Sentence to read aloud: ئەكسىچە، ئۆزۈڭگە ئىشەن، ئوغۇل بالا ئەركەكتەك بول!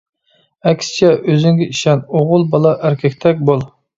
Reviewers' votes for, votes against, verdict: 2, 0, accepted